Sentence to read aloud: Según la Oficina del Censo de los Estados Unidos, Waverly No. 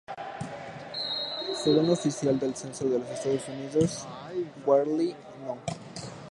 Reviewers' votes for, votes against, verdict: 1, 2, rejected